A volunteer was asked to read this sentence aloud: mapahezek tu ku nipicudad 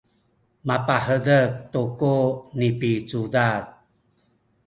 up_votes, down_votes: 0, 2